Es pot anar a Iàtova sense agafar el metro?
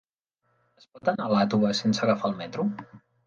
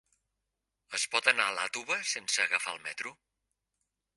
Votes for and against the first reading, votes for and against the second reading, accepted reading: 0, 2, 2, 0, second